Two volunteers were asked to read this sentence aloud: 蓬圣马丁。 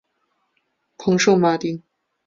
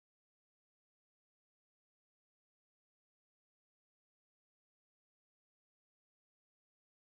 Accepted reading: first